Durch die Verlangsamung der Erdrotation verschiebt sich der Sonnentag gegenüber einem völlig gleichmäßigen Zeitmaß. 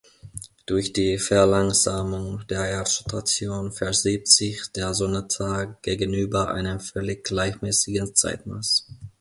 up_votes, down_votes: 1, 2